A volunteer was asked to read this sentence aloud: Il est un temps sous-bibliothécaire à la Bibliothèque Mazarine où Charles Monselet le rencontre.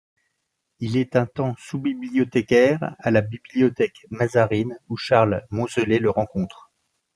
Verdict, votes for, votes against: accepted, 2, 0